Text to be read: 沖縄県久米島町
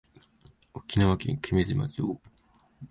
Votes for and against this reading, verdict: 9, 3, accepted